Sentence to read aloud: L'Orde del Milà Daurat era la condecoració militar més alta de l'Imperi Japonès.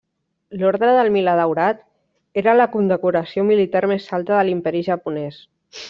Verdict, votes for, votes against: rejected, 0, 2